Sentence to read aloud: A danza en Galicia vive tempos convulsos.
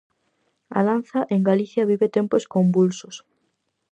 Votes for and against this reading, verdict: 4, 0, accepted